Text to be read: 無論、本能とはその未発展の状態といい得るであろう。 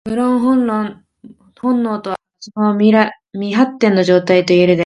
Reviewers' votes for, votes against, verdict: 0, 2, rejected